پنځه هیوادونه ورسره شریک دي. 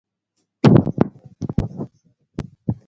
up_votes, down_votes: 1, 2